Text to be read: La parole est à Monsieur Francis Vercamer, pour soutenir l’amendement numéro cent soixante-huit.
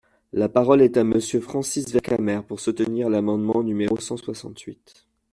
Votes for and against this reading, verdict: 2, 1, accepted